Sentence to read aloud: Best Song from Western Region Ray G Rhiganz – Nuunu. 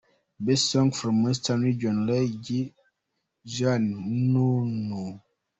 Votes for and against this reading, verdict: 2, 0, accepted